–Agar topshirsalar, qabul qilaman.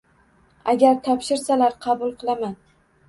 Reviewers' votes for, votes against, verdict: 2, 0, accepted